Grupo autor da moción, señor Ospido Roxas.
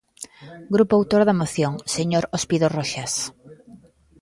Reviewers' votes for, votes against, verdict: 2, 0, accepted